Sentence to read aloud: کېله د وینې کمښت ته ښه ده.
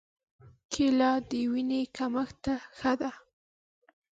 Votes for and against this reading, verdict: 2, 0, accepted